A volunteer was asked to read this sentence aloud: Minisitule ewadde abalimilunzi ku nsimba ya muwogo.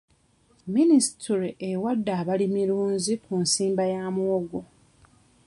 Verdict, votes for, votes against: rejected, 1, 2